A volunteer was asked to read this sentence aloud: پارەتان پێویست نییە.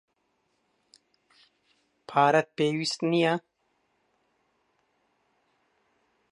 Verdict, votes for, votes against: rejected, 1, 2